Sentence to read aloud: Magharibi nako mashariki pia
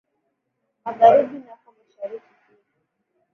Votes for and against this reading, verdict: 2, 0, accepted